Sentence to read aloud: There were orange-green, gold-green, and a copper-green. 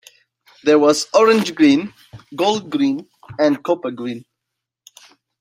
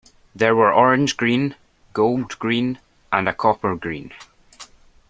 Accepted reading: second